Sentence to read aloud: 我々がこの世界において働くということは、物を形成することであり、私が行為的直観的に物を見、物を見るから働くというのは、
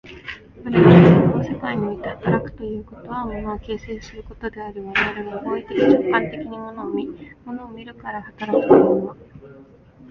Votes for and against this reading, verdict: 0, 2, rejected